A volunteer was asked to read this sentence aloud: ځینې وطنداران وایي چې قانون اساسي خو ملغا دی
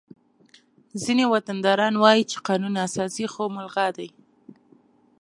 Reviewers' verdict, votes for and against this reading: accepted, 2, 0